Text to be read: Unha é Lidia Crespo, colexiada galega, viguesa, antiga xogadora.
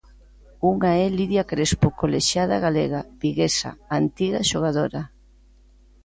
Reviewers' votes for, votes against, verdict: 2, 0, accepted